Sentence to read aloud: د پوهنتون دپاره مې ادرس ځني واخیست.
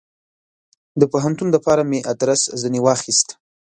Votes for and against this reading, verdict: 2, 0, accepted